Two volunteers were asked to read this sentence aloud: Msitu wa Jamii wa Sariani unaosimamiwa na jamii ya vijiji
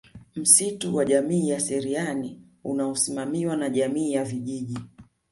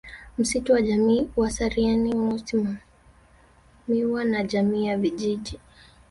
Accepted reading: first